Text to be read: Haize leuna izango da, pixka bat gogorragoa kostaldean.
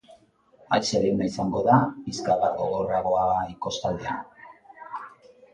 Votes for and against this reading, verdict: 1, 2, rejected